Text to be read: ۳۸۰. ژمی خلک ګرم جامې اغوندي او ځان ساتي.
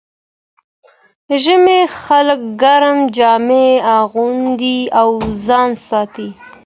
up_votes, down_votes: 0, 2